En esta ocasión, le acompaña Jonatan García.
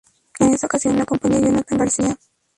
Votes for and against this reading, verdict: 0, 2, rejected